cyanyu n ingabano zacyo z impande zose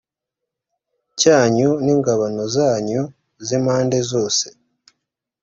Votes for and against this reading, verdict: 2, 0, accepted